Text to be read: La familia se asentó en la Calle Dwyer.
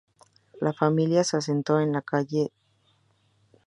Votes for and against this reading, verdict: 2, 2, rejected